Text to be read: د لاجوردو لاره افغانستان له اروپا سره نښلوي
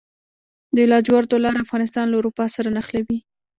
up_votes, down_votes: 1, 2